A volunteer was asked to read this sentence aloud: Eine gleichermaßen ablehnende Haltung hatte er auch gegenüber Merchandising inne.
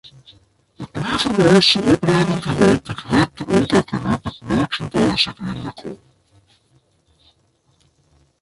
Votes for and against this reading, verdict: 0, 2, rejected